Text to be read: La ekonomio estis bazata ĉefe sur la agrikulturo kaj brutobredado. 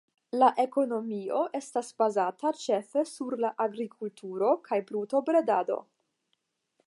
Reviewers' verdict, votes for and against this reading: rejected, 0, 10